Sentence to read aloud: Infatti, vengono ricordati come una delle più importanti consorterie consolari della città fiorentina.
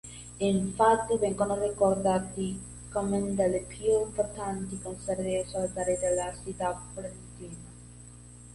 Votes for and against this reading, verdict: 0, 2, rejected